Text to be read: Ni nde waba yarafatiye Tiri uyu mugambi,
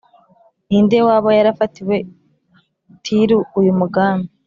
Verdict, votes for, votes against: accepted, 4, 0